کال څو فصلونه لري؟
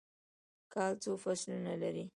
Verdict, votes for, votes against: rejected, 1, 2